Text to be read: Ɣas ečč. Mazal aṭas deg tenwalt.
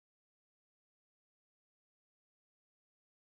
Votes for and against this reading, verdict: 0, 2, rejected